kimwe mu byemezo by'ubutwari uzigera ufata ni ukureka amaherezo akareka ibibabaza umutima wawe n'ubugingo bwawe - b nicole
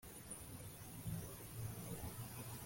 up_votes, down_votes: 0, 2